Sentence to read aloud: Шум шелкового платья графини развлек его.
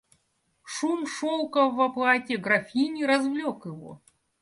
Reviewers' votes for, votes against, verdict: 1, 2, rejected